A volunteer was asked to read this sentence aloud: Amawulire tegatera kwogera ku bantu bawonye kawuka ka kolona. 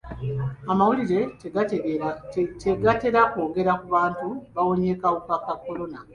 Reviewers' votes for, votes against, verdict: 2, 1, accepted